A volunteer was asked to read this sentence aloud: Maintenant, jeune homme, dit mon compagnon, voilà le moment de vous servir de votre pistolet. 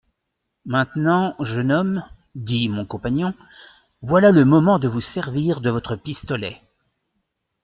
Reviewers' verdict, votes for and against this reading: accepted, 2, 0